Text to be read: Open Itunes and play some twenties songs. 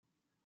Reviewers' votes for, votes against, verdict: 0, 3, rejected